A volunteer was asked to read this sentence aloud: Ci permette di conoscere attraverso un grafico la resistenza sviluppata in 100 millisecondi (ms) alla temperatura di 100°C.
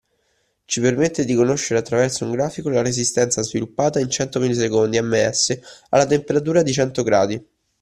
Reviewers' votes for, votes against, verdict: 0, 2, rejected